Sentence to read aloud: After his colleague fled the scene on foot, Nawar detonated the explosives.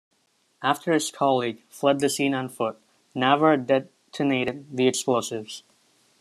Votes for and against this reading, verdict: 2, 0, accepted